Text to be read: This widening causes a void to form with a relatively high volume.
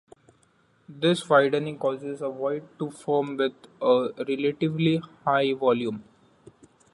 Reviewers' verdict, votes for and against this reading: accepted, 2, 0